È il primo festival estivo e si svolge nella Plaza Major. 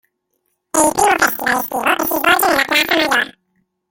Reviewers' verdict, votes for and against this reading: rejected, 0, 2